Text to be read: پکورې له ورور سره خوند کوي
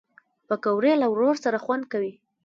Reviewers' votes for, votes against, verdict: 0, 2, rejected